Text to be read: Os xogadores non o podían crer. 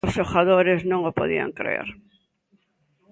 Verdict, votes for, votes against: accepted, 2, 0